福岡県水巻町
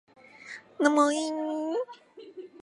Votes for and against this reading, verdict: 0, 2, rejected